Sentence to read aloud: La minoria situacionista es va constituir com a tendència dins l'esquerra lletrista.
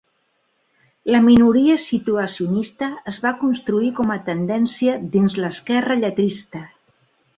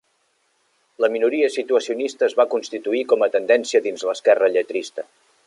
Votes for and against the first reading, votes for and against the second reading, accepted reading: 1, 3, 3, 0, second